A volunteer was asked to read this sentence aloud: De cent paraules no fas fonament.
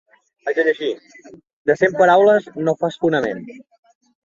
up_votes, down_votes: 0, 2